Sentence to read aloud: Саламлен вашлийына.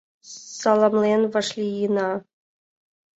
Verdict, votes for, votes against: rejected, 1, 2